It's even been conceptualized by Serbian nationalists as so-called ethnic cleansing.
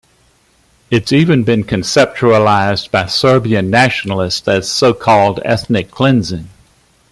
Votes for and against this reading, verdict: 2, 0, accepted